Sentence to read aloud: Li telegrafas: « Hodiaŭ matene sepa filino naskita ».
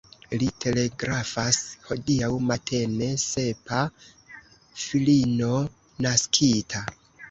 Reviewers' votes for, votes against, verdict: 2, 1, accepted